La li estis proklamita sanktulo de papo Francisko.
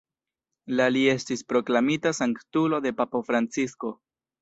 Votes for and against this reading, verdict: 1, 2, rejected